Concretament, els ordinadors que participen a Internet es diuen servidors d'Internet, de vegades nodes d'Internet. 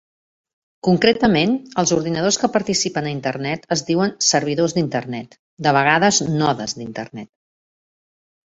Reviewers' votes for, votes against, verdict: 4, 0, accepted